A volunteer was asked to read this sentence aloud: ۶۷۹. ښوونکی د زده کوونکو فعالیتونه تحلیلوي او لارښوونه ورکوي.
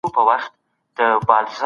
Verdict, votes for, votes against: rejected, 0, 2